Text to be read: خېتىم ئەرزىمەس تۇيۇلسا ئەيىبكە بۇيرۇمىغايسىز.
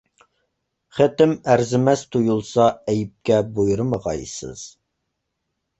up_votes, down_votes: 2, 0